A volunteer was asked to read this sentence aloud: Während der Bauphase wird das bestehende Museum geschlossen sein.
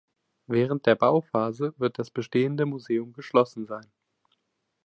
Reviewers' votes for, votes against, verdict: 3, 0, accepted